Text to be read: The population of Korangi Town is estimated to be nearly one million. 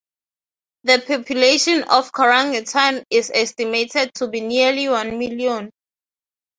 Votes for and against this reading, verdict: 3, 0, accepted